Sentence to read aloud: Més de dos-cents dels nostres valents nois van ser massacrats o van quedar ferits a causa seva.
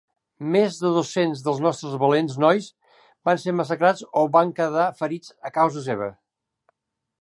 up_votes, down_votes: 0, 2